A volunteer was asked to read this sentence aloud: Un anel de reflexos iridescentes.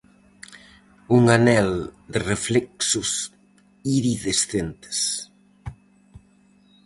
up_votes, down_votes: 2, 2